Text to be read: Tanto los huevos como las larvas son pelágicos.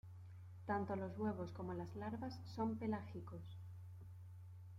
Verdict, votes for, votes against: accepted, 2, 0